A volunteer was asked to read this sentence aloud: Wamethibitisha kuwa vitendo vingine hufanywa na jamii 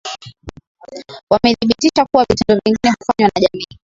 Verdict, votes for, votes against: rejected, 0, 2